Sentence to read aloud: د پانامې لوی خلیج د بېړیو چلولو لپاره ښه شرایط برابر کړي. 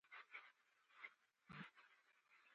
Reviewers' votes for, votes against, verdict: 1, 2, rejected